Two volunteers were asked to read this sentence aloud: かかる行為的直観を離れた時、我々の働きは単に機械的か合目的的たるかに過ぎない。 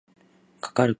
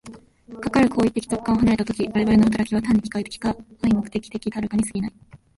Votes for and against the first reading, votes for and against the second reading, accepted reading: 0, 2, 3, 2, second